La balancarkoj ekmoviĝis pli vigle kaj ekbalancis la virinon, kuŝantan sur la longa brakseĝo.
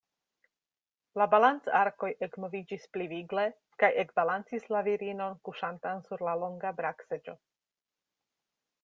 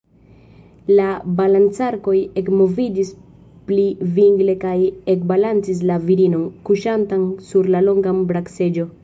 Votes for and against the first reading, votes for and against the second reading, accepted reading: 2, 0, 1, 2, first